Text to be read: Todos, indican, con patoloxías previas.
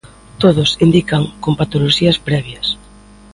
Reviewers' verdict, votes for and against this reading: accepted, 2, 0